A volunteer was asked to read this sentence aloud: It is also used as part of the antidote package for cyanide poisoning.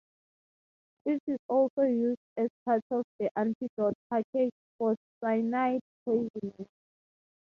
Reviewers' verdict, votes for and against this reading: rejected, 3, 6